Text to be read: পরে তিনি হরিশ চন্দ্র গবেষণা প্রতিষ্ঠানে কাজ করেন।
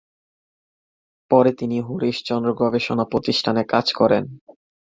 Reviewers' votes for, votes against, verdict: 2, 0, accepted